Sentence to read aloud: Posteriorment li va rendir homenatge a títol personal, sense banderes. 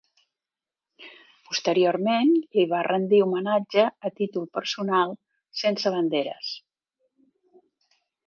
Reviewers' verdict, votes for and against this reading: accepted, 2, 0